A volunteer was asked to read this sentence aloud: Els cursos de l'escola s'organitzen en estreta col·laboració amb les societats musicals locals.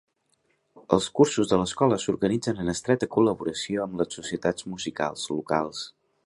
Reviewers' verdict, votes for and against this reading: accepted, 3, 0